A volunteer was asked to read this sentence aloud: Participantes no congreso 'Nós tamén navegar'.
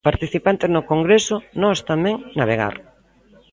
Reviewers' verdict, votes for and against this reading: accepted, 2, 0